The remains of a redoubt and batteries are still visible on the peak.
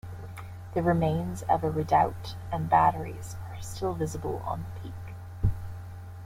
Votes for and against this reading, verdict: 2, 0, accepted